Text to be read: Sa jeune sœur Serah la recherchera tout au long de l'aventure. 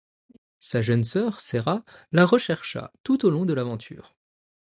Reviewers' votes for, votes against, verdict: 0, 2, rejected